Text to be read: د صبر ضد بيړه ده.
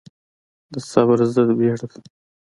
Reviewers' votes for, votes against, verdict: 0, 2, rejected